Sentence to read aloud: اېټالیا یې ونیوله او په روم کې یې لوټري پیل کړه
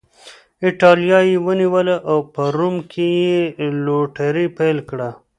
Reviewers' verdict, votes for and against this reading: accepted, 2, 0